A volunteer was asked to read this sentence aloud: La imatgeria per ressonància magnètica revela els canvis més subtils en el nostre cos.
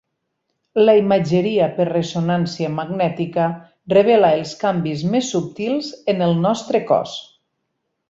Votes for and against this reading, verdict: 6, 0, accepted